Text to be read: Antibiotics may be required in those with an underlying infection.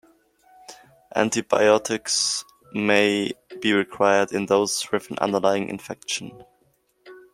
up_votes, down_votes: 1, 2